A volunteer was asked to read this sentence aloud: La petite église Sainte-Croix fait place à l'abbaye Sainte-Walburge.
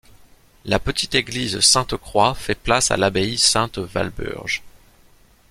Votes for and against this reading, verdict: 2, 0, accepted